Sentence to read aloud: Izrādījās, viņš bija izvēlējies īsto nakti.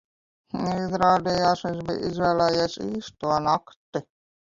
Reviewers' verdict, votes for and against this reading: rejected, 0, 2